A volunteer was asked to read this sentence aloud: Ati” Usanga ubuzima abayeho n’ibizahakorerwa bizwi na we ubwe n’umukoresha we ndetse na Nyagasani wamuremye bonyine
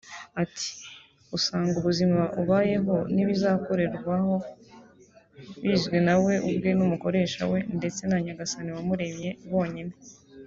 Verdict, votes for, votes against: rejected, 1, 2